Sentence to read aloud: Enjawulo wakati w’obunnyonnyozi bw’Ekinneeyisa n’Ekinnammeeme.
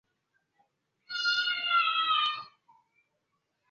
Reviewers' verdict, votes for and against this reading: rejected, 0, 2